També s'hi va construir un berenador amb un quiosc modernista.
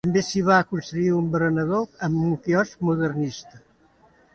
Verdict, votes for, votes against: rejected, 1, 2